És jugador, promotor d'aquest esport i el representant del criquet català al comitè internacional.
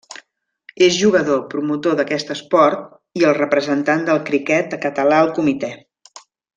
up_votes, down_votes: 0, 2